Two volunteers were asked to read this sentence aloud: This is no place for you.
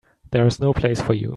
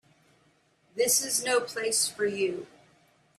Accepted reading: second